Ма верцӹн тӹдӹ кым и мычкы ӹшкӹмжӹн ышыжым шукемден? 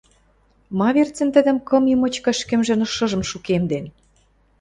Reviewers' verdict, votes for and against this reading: rejected, 1, 2